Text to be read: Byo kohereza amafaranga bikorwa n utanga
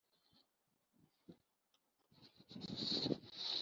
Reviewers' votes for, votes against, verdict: 0, 2, rejected